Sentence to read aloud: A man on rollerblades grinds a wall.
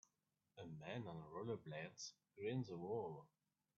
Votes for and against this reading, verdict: 1, 2, rejected